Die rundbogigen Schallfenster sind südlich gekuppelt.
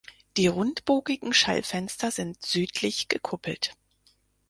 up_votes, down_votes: 4, 0